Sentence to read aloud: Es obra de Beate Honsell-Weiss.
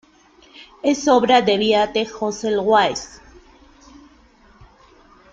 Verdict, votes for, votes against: rejected, 0, 2